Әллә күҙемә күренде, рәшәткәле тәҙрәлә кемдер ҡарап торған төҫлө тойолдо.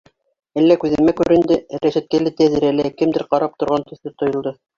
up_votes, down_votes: 2, 3